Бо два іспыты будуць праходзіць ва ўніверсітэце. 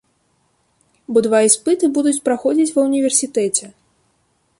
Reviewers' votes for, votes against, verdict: 2, 0, accepted